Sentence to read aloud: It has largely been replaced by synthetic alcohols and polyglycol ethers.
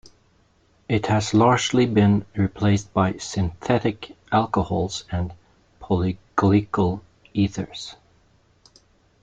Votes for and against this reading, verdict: 1, 2, rejected